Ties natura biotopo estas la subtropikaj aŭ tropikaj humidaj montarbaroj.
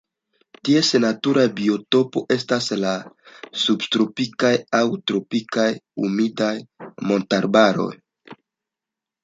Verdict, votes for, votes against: accepted, 3, 0